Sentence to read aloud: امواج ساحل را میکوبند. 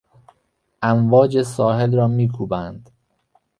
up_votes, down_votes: 1, 2